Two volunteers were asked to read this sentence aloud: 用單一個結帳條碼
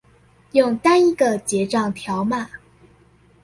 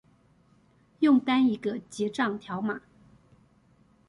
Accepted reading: second